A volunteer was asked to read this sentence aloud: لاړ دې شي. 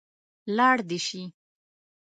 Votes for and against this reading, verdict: 2, 0, accepted